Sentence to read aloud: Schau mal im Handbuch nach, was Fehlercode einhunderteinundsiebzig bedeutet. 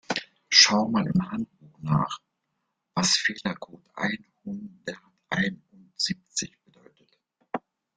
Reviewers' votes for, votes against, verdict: 1, 2, rejected